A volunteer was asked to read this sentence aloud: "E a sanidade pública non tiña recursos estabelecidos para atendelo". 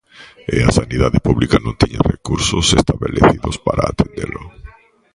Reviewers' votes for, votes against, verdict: 1, 2, rejected